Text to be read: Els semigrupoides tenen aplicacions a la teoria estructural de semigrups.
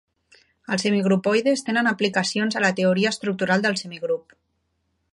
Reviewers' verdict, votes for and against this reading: rejected, 1, 2